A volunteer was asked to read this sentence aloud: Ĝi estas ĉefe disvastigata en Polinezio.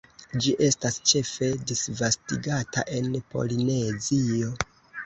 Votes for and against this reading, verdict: 0, 2, rejected